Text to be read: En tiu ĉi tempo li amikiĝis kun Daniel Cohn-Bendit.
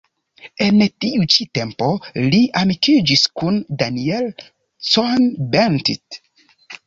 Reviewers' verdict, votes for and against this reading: accepted, 2, 0